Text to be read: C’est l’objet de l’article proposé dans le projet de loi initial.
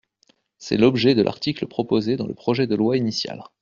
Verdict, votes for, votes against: accepted, 2, 0